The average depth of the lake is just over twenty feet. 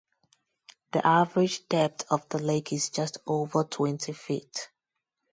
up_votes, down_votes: 2, 0